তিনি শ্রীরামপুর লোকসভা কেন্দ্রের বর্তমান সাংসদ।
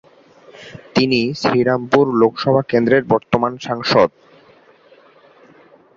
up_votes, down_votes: 2, 1